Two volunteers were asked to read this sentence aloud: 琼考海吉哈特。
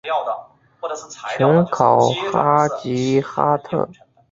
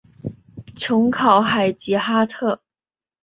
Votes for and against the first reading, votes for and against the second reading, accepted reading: 0, 2, 2, 0, second